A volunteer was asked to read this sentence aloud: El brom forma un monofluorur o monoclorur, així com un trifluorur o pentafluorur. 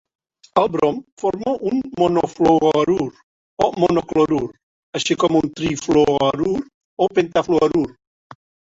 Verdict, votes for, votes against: rejected, 0, 2